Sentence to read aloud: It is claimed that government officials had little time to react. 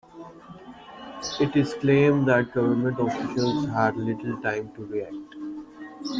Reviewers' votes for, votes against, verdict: 2, 1, accepted